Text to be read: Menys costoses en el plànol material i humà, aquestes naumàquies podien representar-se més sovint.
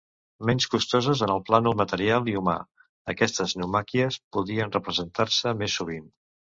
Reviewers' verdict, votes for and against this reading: accepted, 2, 0